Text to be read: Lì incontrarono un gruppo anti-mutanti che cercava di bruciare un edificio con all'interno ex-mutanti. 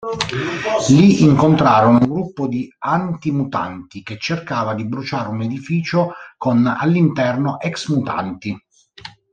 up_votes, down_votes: 1, 2